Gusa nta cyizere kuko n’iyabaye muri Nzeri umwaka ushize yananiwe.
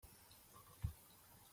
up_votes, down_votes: 0, 2